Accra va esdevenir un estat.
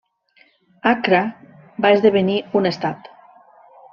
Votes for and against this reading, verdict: 2, 0, accepted